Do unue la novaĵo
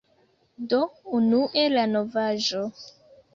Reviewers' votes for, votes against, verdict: 2, 0, accepted